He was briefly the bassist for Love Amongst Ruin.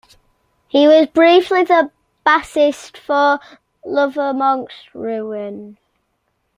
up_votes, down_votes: 0, 2